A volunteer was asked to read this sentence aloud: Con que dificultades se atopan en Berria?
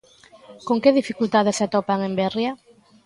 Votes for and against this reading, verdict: 2, 0, accepted